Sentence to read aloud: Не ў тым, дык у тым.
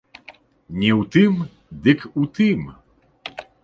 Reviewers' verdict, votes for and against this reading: accepted, 2, 0